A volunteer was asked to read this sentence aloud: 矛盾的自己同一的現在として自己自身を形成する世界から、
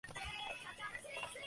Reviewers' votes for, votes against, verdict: 0, 3, rejected